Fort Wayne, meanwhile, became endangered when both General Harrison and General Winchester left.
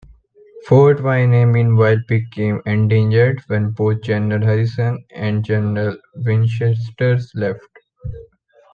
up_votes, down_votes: 3, 1